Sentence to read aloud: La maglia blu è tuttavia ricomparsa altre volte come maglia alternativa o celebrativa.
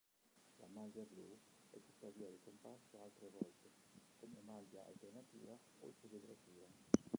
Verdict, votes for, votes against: rejected, 0, 3